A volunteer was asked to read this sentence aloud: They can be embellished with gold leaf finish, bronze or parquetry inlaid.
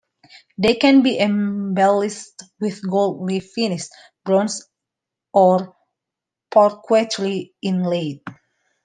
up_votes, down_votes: 0, 2